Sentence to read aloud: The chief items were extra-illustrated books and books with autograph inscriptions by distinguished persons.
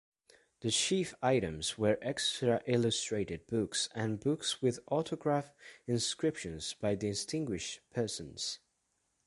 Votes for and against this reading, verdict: 1, 2, rejected